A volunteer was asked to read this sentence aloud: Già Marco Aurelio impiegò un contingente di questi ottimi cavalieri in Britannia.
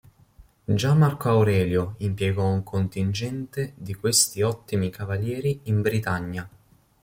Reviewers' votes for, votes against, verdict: 2, 0, accepted